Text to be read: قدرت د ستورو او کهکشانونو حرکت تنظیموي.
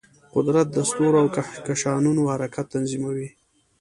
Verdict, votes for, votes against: accepted, 2, 0